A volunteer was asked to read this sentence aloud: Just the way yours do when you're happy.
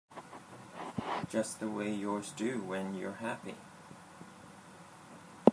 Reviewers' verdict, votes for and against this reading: accepted, 2, 0